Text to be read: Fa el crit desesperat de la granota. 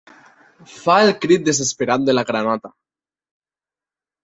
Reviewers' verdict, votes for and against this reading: accepted, 2, 0